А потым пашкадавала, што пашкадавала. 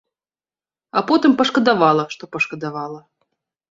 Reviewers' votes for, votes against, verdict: 2, 0, accepted